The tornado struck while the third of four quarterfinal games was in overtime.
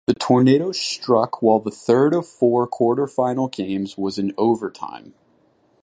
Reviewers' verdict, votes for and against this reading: accepted, 2, 0